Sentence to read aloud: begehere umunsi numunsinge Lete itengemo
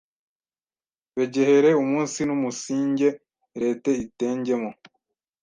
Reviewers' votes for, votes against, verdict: 1, 2, rejected